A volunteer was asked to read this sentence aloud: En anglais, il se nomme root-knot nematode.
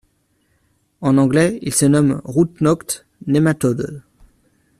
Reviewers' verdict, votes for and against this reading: rejected, 0, 2